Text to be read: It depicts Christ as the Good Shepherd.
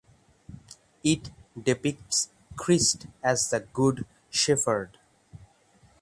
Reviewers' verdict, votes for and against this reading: rejected, 0, 6